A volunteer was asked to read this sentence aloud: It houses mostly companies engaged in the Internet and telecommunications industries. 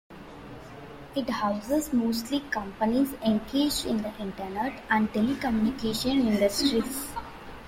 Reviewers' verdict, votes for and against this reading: rejected, 0, 2